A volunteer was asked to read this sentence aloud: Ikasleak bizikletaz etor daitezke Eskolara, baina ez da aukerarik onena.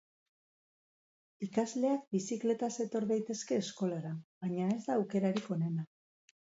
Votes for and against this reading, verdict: 4, 0, accepted